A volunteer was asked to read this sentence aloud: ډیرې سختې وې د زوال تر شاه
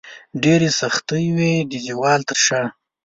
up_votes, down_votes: 0, 2